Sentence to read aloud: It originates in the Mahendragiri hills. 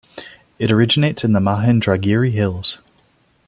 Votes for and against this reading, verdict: 2, 0, accepted